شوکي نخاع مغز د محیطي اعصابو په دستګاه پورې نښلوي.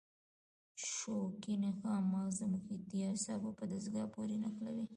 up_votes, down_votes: 0, 2